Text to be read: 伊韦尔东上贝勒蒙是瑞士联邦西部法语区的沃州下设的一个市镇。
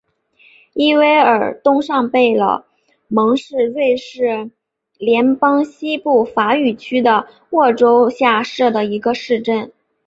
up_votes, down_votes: 3, 0